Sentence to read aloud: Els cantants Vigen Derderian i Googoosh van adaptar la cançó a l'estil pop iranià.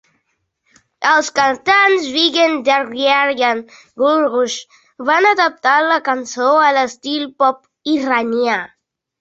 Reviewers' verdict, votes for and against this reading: rejected, 0, 2